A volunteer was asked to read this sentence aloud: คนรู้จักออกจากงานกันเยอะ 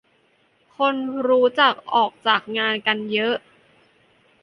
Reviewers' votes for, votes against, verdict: 3, 0, accepted